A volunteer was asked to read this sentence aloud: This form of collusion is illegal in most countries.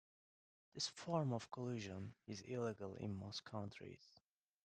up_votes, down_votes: 1, 2